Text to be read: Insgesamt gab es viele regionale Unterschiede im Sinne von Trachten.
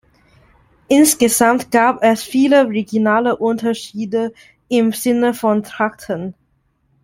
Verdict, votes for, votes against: accepted, 2, 1